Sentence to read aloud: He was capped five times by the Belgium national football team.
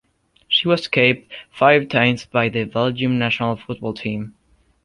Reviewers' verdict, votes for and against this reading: rejected, 1, 2